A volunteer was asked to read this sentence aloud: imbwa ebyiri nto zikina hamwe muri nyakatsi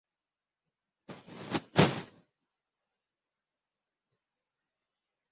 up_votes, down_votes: 0, 2